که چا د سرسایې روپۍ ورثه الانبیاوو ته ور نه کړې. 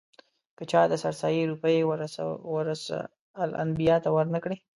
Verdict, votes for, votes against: rejected, 1, 2